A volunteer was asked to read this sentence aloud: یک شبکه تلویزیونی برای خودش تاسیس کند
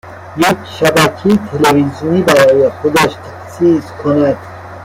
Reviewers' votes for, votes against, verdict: 0, 2, rejected